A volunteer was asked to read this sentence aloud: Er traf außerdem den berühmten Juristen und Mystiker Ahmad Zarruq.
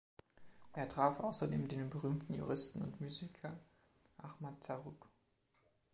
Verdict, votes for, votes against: rejected, 1, 2